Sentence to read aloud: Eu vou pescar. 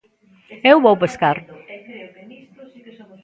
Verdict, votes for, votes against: rejected, 0, 2